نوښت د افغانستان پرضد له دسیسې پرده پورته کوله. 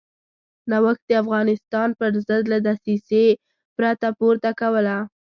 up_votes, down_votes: 0, 2